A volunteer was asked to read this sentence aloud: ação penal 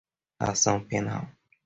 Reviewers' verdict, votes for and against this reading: accepted, 2, 0